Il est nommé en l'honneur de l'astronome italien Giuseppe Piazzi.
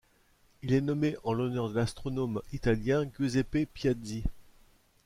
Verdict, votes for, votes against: rejected, 1, 2